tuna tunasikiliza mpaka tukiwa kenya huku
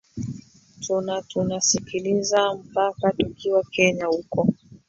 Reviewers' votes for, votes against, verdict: 0, 2, rejected